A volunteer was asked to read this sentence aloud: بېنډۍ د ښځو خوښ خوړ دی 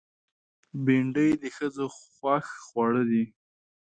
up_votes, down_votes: 0, 2